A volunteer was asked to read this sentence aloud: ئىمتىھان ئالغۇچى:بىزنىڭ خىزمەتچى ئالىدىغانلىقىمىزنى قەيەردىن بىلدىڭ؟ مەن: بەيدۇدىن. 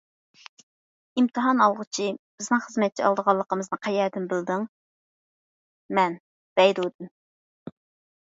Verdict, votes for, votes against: accepted, 2, 0